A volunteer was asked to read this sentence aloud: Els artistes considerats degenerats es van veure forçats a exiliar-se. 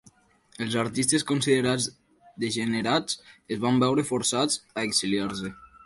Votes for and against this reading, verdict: 3, 0, accepted